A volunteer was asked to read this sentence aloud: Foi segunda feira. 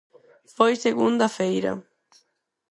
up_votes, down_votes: 2, 4